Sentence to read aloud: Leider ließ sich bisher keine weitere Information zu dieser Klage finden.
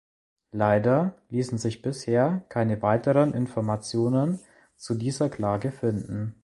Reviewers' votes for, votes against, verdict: 0, 2, rejected